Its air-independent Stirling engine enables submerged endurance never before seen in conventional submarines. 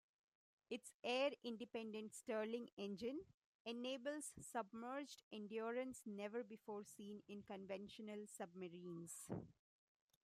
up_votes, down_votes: 1, 2